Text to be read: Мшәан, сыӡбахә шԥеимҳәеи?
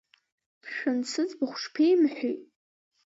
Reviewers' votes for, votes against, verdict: 2, 0, accepted